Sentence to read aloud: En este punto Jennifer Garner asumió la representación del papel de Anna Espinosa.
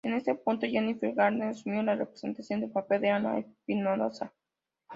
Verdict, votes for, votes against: rejected, 1, 2